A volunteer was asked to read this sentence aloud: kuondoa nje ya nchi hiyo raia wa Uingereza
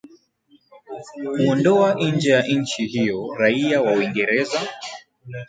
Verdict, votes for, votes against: accepted, 2, 0